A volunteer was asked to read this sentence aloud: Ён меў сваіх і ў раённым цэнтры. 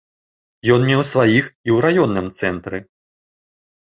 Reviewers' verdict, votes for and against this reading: accepted, 2, 0